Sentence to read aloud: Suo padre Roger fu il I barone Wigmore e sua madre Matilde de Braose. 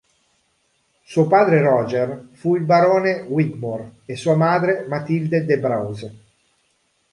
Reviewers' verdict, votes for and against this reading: rejected, 1, 2